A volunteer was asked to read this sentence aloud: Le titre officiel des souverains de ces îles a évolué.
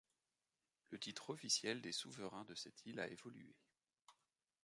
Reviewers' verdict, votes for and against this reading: rejected, 1, 2